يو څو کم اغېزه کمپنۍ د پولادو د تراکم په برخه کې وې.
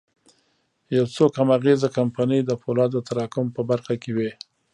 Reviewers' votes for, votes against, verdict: 0, 2, rejected